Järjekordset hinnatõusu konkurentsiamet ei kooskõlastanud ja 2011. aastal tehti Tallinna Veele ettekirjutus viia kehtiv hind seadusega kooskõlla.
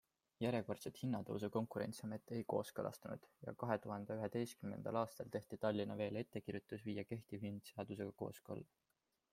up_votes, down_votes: 0, 2